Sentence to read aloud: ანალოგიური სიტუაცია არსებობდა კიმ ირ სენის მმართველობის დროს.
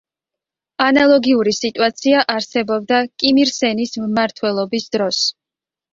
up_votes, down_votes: 2, 0